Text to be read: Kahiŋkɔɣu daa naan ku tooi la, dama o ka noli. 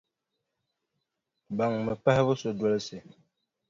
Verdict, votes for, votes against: rejected, 1, 2